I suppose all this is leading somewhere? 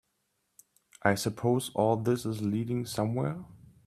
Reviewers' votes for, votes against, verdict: 2, 0, accepted